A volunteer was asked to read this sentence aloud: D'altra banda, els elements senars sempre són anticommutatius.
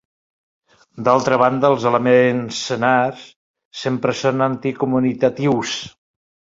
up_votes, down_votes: 2, 4